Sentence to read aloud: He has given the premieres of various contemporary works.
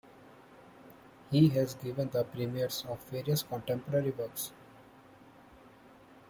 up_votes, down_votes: 2, 0